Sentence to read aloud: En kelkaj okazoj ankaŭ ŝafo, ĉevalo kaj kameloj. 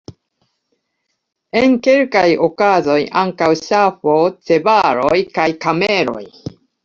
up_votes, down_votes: 0, 2